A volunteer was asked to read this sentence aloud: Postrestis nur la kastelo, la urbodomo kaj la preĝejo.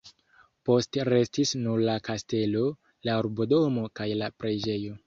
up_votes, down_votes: 1, 2